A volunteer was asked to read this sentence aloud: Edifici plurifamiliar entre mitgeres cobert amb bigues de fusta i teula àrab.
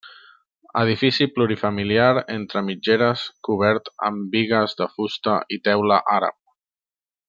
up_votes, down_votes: 3, 0